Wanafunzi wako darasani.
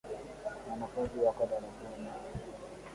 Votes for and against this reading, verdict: 0, 2, rejected